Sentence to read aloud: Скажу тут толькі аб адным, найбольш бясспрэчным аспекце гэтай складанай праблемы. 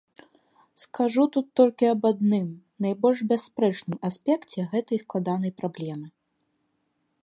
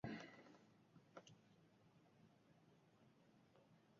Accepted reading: first